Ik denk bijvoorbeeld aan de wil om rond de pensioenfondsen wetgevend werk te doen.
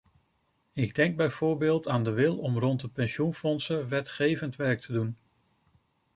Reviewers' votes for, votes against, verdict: 2, 0, accepted